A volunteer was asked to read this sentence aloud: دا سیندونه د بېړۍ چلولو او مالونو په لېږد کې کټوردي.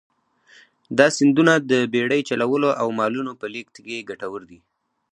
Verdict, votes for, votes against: rejected, 2, 2